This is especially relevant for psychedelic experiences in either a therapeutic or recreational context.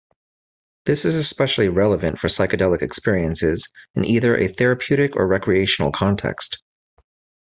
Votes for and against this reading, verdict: 2, 0, accepted